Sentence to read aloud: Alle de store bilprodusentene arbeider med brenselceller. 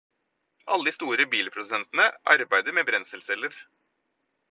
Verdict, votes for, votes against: accepted, 4, 0